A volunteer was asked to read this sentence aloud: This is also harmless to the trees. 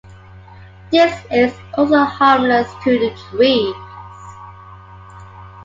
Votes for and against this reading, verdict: 2, 0, accepted